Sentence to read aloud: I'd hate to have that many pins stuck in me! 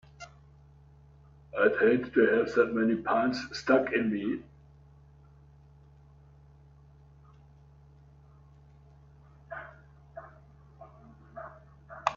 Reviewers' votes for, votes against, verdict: 0, 2, rejected